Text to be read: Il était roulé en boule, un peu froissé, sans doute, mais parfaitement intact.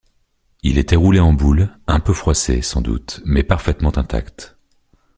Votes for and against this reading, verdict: 2, 0, accepted